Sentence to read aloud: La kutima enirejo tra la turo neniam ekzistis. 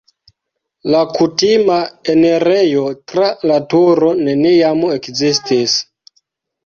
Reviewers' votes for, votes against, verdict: 2, 0, accepted